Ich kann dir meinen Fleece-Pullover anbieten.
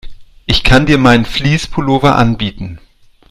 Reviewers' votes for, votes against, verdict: 2, 0, accepted